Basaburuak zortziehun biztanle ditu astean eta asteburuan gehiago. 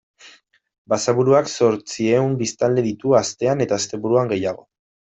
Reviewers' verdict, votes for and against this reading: accepted, 2, 0